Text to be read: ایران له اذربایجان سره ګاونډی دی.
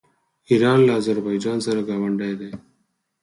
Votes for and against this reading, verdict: 2, 4, rejected